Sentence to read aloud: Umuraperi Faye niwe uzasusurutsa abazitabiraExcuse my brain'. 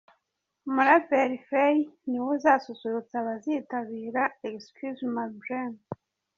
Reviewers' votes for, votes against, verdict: 1, 2, rejected